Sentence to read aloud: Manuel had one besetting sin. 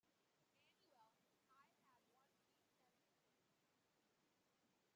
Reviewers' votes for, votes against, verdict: 0, 2, rejected